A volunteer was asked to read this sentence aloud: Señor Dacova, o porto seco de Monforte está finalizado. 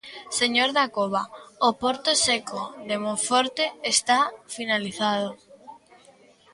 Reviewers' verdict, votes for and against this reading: accepted, 2, 0